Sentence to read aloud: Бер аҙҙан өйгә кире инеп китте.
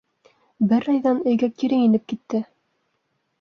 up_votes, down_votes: 2, 0